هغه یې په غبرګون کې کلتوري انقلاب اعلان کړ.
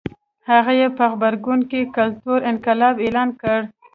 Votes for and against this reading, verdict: 1, 2, rejected